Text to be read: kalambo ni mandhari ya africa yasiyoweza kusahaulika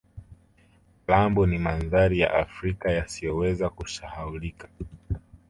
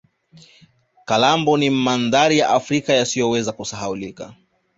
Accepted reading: second